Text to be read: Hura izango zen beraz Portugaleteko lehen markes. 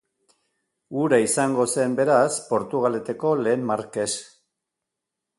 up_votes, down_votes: 2, 0